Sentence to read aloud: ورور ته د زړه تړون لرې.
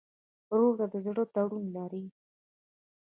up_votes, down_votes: 2, 0